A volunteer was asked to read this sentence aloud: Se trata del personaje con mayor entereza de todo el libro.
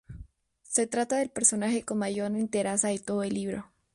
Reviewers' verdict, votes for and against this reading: rejected, 0, 2